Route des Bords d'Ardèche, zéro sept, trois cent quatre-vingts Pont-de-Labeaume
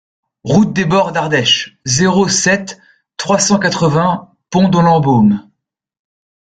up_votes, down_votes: 0, 2